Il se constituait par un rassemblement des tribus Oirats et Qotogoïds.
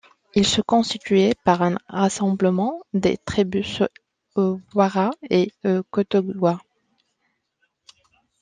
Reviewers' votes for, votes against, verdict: 1, 2, rejected